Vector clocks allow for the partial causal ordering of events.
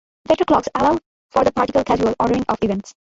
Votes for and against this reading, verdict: 0, 2, rejected